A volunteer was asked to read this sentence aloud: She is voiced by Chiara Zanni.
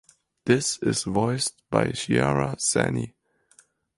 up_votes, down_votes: 2, 2